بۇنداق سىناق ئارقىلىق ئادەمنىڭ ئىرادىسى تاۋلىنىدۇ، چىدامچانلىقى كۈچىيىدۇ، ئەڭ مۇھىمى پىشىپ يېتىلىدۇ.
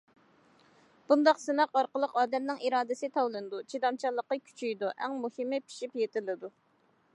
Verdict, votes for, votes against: accepted, 2, 0